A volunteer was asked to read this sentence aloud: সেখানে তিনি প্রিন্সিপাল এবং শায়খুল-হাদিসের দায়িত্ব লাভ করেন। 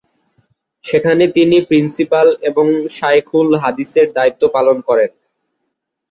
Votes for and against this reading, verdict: 0, 2, rejected